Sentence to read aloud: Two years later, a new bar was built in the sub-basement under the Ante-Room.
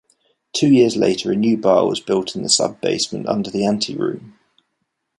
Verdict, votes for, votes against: accepted, 2, 0